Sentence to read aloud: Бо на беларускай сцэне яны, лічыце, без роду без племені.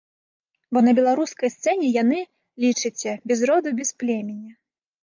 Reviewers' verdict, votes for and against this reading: rejected, 0, 2